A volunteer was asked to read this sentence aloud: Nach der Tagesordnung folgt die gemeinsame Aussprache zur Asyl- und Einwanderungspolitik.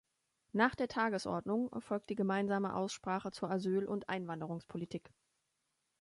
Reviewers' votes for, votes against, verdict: 3, 1, accepted